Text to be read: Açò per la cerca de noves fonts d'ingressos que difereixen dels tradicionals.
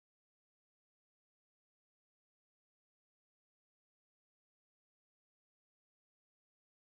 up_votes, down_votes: 0, 2